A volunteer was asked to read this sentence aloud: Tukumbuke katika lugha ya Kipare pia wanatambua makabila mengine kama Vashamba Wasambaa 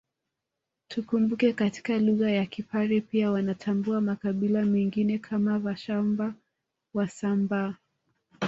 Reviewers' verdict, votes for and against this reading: accepted, 2, 1